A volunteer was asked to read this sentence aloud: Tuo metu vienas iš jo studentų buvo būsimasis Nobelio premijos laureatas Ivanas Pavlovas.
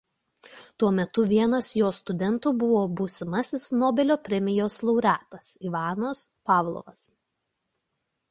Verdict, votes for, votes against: rejected, 1, 2